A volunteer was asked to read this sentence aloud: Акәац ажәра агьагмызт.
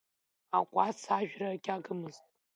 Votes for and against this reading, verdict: 1, 2, rejected